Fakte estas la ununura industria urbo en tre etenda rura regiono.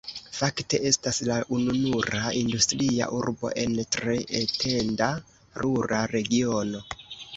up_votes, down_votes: 2, 0